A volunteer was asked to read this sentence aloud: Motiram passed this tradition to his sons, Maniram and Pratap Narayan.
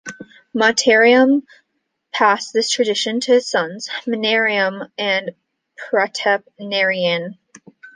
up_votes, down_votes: 2, 0